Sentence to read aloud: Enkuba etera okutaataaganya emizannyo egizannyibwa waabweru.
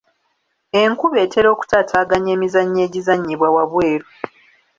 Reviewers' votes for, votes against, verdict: 2, 0, accepted